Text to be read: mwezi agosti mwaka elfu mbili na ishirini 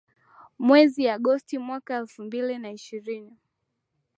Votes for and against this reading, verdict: 4, 1, accepted